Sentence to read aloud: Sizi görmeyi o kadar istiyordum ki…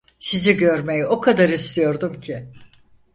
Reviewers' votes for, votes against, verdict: 4, 0, accepted